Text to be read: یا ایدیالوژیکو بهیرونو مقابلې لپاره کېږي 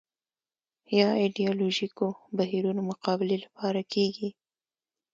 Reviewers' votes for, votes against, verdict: 2, 0, accepted